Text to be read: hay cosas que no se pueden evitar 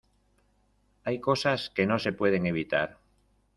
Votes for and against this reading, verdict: 2, 0, accepted